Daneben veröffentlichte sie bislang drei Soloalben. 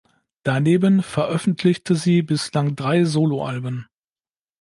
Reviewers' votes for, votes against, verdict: 2, 0, accepted